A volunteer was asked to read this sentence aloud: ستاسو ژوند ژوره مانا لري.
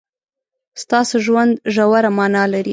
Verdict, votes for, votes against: accepted, 2, 0